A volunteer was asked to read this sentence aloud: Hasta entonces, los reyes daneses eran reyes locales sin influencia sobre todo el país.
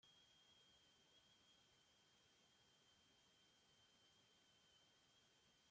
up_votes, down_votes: 0, 2